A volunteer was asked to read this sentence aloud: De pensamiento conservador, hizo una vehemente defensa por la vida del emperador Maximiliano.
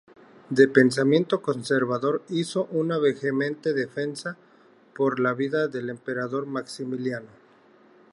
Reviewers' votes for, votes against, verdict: 0, 2, rejected